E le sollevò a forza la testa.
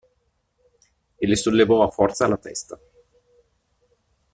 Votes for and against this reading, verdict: 1, 2, rejected